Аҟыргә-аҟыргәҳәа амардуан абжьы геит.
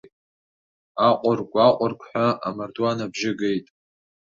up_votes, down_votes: 2, 0